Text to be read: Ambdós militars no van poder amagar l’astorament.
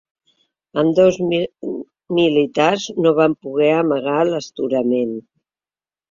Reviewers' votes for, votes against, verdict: 0, 2, rejected